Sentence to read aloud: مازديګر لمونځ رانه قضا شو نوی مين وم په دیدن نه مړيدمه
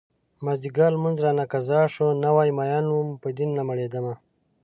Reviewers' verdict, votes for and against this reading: rejected, 0, 2